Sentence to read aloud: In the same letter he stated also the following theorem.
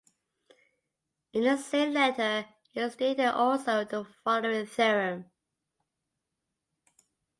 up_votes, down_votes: 2, 0